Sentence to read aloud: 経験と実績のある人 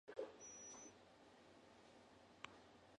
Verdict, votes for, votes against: rejected, 0, 2